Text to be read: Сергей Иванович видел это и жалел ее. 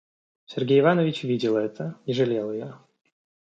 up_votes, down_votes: 2, 0